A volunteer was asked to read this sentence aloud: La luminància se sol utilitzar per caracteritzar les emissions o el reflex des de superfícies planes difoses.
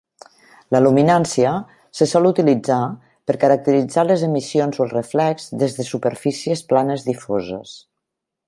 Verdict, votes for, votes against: accepted, 2, 0